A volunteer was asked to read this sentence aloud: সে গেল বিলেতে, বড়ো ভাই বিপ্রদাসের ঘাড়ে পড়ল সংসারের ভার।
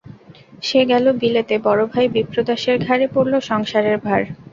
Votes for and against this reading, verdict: 2, 0, accepted